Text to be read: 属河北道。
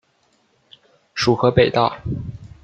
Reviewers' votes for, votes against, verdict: 2, 0, accepted